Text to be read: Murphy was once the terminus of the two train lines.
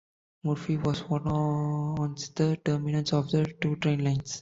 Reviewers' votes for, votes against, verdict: 1, 2, rejected